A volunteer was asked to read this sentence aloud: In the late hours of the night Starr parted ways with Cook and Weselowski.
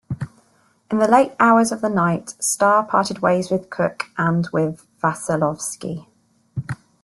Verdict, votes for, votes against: rejected, 0, 2